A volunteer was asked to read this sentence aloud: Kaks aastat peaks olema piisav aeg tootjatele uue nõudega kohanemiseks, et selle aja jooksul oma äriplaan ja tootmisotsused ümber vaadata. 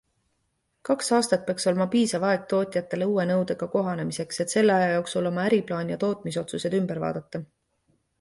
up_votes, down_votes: 3, 0